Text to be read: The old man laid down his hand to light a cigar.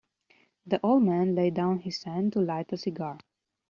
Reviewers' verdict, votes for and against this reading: accepted, 3, 0